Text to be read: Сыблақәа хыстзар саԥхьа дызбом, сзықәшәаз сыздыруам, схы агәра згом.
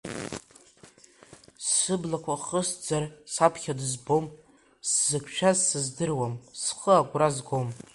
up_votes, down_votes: 1, 2